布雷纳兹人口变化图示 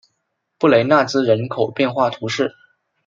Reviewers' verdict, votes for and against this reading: accepted, 2, 1